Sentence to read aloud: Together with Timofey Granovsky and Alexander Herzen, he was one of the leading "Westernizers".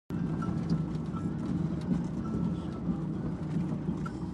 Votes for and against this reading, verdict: 0, 2, rejected